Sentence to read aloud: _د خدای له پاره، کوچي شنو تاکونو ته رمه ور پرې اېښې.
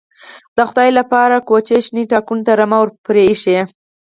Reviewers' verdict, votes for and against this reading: rejected, 0, 4